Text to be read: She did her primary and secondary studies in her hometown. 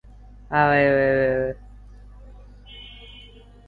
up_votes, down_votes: 0, 2